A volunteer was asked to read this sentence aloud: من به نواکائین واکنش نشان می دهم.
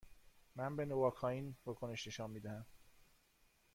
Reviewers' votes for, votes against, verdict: 2, 0, accepted